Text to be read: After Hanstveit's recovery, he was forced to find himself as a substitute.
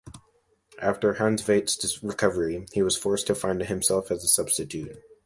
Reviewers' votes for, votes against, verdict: 2, 1, accepted